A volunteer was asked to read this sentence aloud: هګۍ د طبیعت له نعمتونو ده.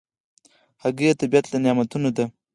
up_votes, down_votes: 4, 2